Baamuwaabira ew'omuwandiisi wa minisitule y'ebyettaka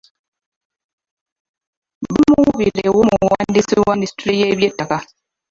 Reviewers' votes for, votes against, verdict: 0, 2, rejected